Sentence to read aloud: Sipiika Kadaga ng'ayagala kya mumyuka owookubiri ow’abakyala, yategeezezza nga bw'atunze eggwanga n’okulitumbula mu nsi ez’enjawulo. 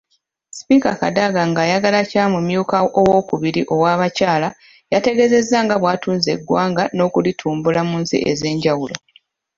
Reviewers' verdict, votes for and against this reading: rejected, 1, 2